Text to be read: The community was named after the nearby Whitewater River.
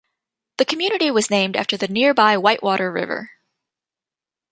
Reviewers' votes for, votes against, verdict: 2, 0, accepted